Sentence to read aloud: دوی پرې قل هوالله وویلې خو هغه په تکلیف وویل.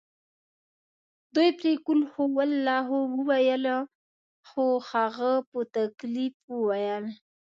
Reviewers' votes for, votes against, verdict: 2, 0, accepted